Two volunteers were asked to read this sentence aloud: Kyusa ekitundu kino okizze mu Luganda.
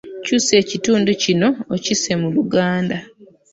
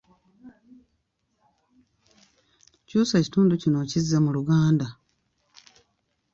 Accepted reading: second